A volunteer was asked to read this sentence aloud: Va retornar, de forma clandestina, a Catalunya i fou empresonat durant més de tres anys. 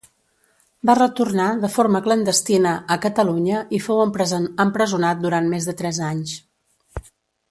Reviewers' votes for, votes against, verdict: 1, 2, rejected